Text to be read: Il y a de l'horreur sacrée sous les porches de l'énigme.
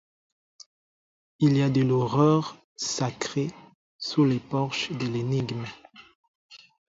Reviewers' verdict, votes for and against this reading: accepted, 4, 0